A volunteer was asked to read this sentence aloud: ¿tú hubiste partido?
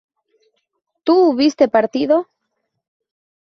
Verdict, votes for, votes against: accepted, 2, 0